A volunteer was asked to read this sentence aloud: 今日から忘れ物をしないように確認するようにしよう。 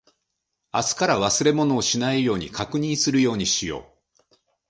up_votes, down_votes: 0, 3